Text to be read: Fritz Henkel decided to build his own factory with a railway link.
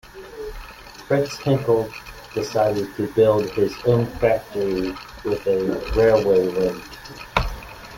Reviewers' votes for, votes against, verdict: 2, 0, accepted